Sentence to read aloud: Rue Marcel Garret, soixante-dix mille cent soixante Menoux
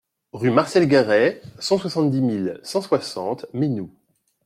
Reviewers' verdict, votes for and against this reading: rejected, 0, 2